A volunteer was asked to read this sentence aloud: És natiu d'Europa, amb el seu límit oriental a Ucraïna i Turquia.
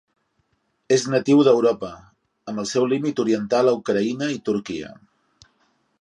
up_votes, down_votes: 4, 0